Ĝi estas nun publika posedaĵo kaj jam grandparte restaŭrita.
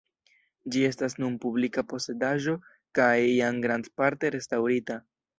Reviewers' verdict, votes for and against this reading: rejected, 1, 2